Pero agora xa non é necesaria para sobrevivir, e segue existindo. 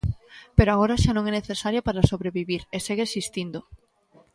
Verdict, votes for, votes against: rejected, 1, 2